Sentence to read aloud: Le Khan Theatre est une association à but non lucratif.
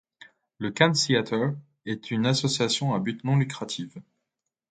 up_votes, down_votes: 0, 2